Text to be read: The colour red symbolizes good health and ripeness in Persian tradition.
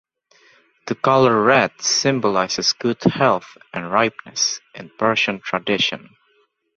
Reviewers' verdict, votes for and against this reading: accepted, 2, 0